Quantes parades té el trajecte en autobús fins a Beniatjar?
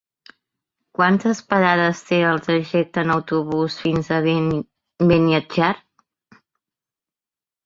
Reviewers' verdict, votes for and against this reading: rejected, 0, 2